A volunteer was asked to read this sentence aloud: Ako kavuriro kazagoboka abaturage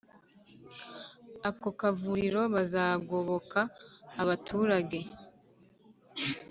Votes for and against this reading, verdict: 1, 2, rejected